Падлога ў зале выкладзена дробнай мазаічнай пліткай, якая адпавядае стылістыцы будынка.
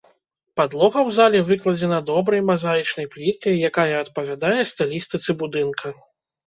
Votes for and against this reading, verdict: 0, 2, rejected